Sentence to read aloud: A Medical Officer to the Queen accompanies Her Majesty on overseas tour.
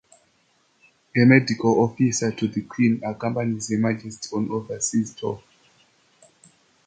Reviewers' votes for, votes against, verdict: 2, 0, accepted